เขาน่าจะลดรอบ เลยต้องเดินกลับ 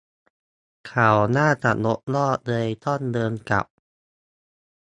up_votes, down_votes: 0, 2